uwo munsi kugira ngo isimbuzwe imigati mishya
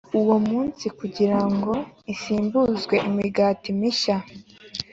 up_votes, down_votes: 3, 0